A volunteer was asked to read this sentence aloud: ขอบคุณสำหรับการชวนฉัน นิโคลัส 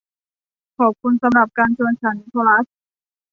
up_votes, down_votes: 0, 2